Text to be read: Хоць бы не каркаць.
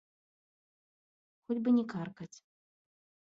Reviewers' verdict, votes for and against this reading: rejected, 1, 2